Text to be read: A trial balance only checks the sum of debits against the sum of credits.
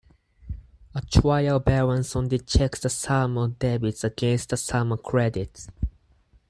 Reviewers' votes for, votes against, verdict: 4, 0, accepted